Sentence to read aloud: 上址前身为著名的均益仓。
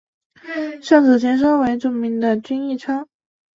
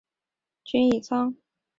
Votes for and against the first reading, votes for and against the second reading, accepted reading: 3, 0, 0, 2, first